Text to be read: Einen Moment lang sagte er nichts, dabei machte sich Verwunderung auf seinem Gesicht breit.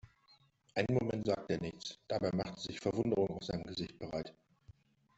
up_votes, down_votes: 3, 0